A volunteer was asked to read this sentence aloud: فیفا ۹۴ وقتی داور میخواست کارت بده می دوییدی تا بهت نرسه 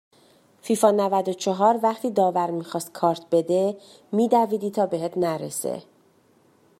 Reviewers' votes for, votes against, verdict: 0, 2, rejected